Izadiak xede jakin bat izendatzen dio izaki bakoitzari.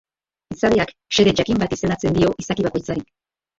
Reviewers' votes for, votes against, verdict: 0, 4, rejected